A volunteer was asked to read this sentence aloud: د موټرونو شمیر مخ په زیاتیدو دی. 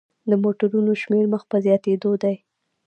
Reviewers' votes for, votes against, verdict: 1, 2, rejected